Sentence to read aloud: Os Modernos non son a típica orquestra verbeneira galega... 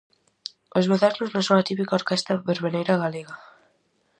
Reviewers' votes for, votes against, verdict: 4, 0, accepted